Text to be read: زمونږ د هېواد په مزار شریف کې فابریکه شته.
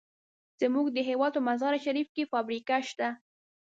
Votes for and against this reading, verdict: 2, 0, accepted